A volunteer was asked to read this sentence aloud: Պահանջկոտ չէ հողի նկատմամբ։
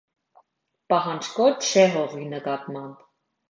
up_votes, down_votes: 2, 0